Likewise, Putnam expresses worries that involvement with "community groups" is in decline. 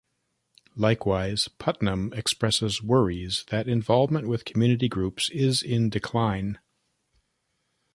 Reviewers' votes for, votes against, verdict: 3, 0, accepted